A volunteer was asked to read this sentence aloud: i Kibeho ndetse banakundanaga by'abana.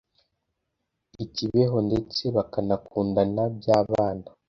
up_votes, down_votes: 1, 2